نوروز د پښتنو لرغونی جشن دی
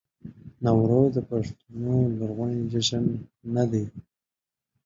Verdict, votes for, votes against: rejected, 0, 2